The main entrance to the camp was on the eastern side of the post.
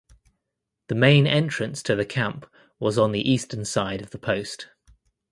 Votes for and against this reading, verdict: 2, 0, accepted